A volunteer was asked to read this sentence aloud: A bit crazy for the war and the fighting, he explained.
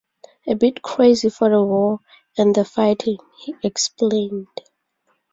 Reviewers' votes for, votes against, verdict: 0, 2, rejected